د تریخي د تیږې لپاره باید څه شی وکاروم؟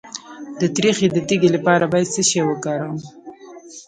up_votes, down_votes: 2, 0